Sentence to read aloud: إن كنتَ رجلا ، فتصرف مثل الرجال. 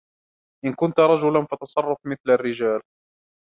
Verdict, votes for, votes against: accepted, 2, 0